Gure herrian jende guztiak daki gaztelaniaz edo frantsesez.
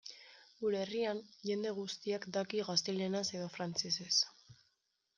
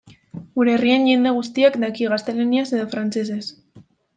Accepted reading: second